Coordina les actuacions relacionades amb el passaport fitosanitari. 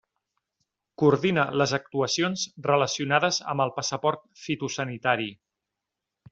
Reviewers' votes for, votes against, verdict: 3, 0, accepted